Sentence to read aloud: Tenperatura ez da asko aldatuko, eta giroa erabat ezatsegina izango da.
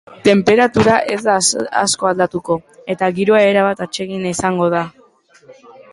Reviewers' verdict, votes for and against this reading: rejected, 0, 3